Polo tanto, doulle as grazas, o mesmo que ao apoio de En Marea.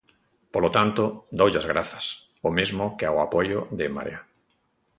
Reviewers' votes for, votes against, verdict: 2, 0, accepted